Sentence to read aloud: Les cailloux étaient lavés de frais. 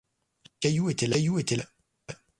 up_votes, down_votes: 1, 2